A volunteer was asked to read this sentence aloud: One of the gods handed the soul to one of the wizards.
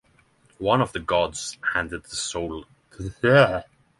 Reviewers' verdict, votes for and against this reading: rejected, 0, 3